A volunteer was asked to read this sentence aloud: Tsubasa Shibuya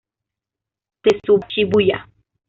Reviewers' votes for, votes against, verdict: 1, 2, rejected